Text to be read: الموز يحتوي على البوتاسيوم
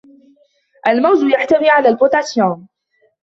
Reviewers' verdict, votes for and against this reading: accepted, 2, 1